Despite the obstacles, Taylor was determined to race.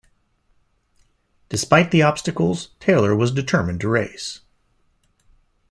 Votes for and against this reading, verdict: 2, 0, accepted